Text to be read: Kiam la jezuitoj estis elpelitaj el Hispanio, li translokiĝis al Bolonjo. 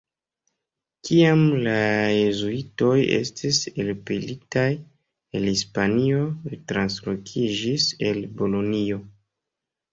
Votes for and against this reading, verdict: 1, 2, rejected